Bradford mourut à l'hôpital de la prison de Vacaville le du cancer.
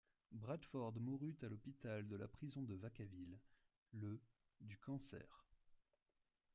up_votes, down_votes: 2, 0